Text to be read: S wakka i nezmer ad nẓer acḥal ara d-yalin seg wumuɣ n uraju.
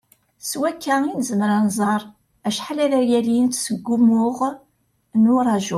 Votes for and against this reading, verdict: 1, 2, rejected